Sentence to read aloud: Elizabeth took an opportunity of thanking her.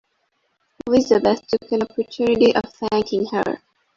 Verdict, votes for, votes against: rejected, 0, 2